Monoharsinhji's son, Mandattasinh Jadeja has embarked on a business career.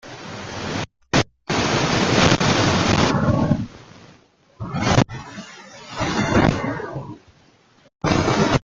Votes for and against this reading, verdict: 0, 2, rejected